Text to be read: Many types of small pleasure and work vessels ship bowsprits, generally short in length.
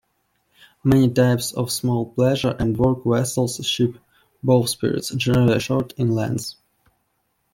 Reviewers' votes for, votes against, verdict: 1, 2, rejected